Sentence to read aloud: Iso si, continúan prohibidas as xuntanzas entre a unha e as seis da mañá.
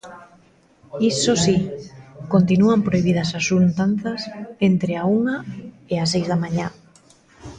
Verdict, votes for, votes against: rejected, 1, 2